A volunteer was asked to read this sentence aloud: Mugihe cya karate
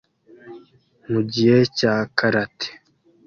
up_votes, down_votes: 2, 0